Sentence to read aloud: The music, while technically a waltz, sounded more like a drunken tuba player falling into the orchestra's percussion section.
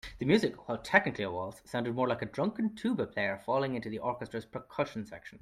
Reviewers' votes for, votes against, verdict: 2, 1, accepted